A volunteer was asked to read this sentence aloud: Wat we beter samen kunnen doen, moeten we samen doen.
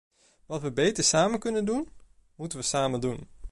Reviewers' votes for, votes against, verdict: 2, 0, accepted